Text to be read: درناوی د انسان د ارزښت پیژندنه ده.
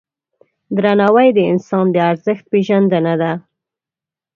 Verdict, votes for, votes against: accepted, 2, 0